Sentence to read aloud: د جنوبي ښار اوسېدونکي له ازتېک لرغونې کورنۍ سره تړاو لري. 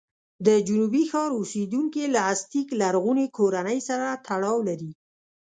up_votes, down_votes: 2, 1